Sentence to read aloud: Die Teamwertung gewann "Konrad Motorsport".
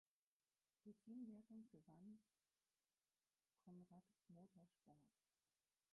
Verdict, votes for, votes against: rejected, 0, 4